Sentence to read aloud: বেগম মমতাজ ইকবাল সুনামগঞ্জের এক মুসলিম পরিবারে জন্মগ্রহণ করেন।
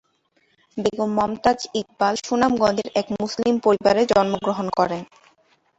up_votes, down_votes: 2, 2